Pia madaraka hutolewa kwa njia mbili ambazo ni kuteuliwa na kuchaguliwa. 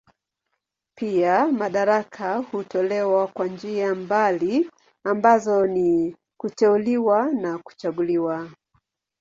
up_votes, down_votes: 8, 8